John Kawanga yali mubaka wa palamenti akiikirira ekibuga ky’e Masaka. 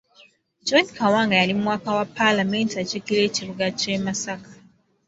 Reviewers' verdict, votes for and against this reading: accepted, 2, 1